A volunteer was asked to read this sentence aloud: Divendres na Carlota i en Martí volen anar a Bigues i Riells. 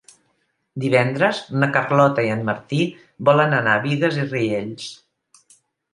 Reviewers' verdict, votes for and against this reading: accepted, 2, 0